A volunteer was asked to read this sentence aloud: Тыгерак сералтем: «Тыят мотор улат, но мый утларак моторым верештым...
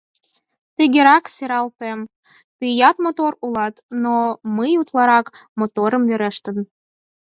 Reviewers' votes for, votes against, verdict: 4, 0, accepted